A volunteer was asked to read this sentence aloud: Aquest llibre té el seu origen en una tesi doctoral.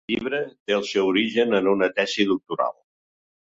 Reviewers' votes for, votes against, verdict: 0, 2, rejected